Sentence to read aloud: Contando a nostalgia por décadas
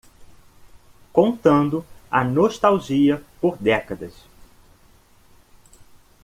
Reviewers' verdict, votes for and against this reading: accepted, 2, 1